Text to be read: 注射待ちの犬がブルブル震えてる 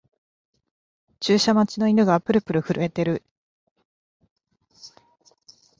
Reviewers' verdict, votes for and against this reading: rejected, 1, 2